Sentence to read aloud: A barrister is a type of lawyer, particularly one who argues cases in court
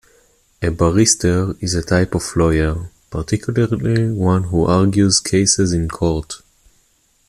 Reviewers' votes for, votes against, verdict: 1, 2, rejected